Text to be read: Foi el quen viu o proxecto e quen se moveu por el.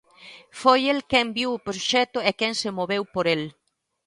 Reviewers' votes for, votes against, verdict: 2, 0, accepted